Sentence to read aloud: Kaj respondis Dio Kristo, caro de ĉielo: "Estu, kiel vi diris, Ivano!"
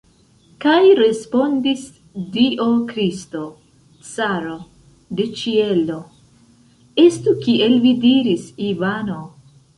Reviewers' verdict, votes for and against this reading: rejected, 1, 2